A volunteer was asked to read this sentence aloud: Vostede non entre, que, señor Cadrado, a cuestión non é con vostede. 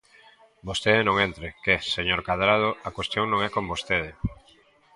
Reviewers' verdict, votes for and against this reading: accepted, 2, 1